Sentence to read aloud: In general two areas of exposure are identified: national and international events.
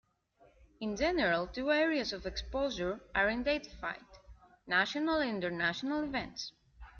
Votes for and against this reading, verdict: 2, 0, accepted